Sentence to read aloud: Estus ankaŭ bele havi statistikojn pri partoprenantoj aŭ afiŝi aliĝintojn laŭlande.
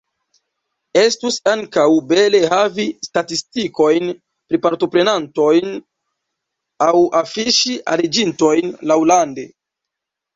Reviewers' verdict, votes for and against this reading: rejected, 1, 2